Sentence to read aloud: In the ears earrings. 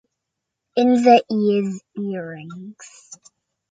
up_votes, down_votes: 2, 1